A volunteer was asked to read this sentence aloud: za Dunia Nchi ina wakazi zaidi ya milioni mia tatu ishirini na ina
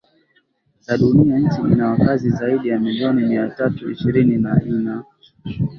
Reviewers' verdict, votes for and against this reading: rejected, 1, 2